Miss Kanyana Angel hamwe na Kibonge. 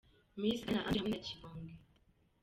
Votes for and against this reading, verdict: 1, 2, rejected